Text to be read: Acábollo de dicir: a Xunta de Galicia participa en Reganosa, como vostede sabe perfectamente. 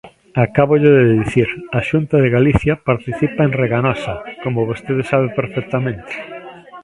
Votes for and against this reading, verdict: 1, 2, rejected